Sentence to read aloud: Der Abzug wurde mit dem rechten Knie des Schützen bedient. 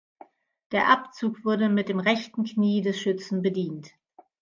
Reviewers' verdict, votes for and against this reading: accepted, 2, 0